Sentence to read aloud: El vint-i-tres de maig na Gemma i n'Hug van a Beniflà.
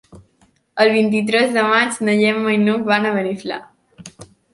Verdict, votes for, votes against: accepted, 2, 0